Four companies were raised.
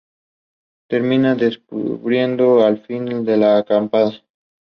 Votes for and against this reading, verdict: 0, 2, rejected